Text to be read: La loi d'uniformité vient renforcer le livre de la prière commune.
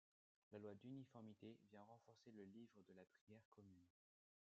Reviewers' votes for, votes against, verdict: 1, 2, rejected